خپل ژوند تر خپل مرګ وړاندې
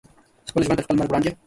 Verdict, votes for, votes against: rejected, 1, 2